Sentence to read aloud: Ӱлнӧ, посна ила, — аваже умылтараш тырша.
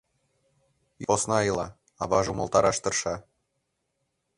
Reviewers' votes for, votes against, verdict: 1, 2, rejected